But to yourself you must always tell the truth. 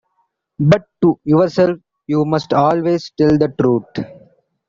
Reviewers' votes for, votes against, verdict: 2, 0, accepted